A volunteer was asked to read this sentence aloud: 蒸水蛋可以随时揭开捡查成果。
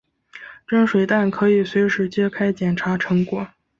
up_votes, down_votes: 3, 0